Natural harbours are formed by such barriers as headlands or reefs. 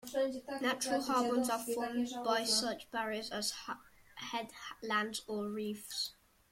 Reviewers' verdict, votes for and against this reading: rejected, 1, 2